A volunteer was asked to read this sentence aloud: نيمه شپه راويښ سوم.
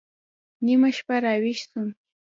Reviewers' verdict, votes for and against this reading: accepted, 2, 0